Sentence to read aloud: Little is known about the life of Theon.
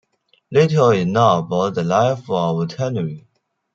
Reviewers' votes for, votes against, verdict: 0, 2, rejected